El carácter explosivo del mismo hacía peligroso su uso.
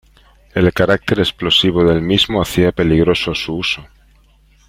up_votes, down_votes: 2, 0